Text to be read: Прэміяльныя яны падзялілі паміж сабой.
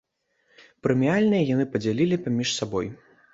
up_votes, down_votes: 2, 0